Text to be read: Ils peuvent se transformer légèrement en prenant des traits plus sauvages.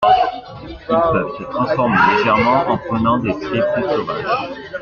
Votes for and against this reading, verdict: 2, 1, accepted